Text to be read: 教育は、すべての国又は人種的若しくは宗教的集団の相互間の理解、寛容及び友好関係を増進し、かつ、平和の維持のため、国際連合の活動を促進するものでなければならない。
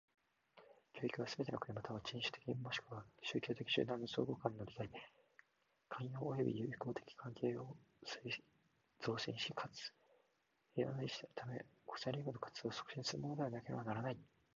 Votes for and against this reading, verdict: 0, 2, rejected